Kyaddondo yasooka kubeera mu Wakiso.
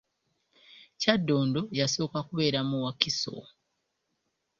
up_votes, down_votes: 2, 1